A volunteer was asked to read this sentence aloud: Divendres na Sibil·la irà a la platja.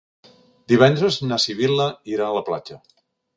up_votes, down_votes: 3, 0